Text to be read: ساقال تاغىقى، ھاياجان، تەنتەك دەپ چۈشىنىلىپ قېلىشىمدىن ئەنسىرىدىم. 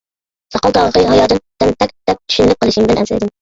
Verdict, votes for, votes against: rejected, 0, 2